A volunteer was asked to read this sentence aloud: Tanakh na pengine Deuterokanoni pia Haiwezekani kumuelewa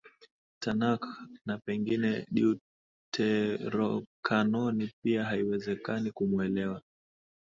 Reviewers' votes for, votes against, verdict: 2, 0, accepted